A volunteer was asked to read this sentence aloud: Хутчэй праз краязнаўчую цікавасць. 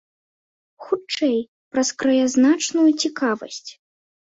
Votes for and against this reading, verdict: 1, 2, rejected